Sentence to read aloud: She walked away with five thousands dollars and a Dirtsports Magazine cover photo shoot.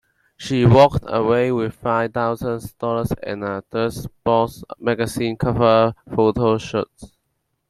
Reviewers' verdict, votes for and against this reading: rejected, 0, 2